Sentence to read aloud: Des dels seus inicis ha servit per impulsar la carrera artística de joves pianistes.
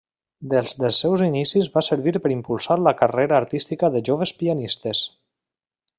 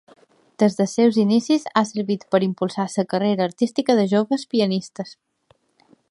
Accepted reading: second